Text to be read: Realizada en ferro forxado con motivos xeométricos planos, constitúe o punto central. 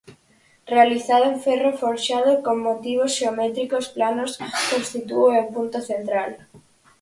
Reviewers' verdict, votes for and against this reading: accepted, 4, 2